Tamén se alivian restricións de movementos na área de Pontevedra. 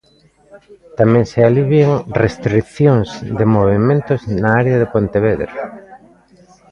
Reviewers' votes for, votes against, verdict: 2, 0, accepted